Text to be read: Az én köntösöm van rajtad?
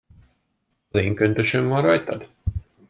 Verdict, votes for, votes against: accepted, 2, 1